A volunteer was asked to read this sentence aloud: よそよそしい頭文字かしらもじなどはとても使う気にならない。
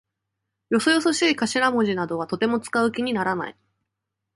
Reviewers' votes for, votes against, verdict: 2, 0, accepted